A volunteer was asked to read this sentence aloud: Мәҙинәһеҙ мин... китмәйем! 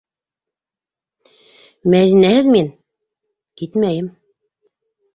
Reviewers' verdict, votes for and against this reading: accepted, 2, 0